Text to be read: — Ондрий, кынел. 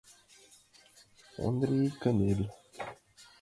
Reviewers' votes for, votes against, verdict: 1, 2, rejected